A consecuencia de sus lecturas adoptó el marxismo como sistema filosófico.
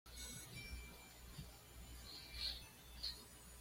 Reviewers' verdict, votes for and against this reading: rejected, 1, 2